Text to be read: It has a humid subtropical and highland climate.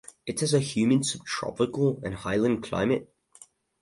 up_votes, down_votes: 0, 2